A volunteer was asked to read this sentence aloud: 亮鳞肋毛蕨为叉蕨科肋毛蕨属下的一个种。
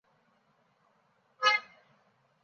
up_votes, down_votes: 0, 2